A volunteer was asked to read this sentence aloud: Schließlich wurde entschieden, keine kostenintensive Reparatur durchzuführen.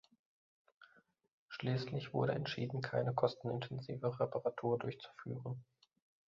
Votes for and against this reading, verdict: 2, 0, accepted